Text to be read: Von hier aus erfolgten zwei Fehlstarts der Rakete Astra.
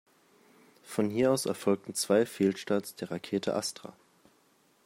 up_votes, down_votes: 2, 0